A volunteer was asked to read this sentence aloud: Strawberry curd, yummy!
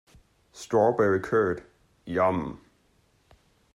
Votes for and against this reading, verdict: 0, 2, rejected